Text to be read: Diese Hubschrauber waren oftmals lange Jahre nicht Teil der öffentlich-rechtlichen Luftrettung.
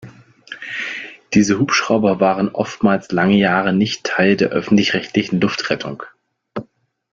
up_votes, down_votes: 2, 0